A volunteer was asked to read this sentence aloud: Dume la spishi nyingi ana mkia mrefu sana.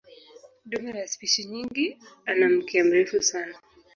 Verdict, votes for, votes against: accepted, 5, 1